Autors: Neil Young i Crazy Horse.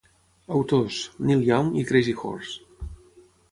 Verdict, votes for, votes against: accepted, 6, 0